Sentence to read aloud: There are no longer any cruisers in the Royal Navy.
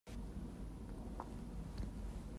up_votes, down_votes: 0, 2